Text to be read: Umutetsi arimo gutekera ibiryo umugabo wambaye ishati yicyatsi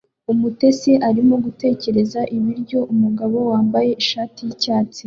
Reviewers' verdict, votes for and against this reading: accepted, 2, 0